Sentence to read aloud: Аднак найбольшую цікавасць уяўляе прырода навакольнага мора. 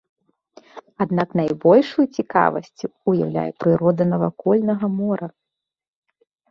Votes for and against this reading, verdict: 2, 0, accepted